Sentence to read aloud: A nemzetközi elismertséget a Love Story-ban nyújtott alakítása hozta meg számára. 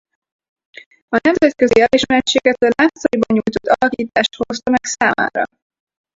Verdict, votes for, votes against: rejected, 0, 2